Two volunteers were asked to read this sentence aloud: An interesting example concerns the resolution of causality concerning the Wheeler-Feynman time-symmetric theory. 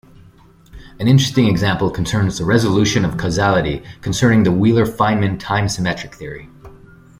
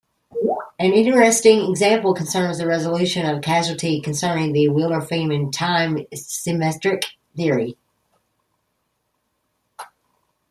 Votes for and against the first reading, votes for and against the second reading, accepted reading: 2, 1, 0, 2, first